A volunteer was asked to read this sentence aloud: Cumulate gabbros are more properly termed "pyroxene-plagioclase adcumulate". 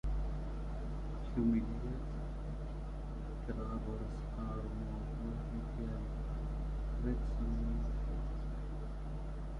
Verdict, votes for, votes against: rejected, 0, 2